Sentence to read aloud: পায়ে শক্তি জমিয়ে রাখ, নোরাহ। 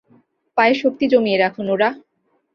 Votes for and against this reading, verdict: 2, 0, accepted